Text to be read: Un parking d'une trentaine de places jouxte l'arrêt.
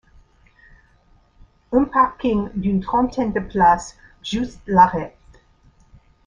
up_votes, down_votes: 0, 2